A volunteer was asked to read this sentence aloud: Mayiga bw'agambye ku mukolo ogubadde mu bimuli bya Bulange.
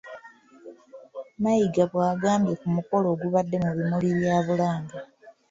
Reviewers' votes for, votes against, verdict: 2, 1, accepted